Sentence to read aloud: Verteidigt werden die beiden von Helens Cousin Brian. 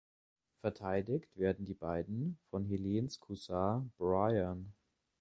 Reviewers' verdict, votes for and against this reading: accepted, 2, 1